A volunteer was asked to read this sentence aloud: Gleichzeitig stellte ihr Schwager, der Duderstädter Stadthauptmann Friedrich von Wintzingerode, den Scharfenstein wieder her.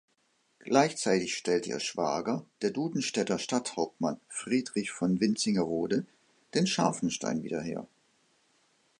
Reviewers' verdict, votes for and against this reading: rejected, 0, 2